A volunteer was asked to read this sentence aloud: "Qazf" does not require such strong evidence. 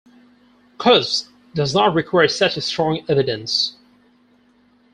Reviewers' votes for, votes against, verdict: 0, 6, rejected